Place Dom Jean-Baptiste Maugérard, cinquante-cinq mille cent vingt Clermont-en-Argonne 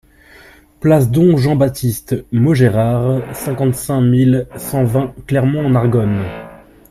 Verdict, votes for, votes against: accepted, 2, 0